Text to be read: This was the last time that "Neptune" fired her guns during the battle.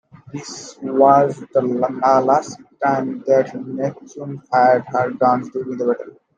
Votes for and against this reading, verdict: 0, 3, rejected